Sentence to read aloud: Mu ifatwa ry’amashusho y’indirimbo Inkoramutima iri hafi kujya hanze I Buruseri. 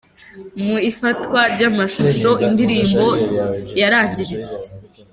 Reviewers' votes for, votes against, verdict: 0, 2, rejected